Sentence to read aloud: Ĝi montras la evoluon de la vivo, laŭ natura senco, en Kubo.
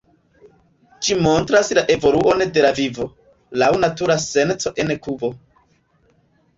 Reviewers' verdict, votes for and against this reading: rejected, 0, 2